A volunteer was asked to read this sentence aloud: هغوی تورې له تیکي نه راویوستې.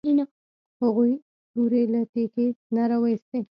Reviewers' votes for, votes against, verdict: 1, 2, rejected